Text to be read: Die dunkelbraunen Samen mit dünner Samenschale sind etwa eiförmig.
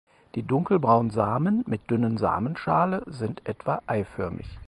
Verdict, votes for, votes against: rejected, 2, 4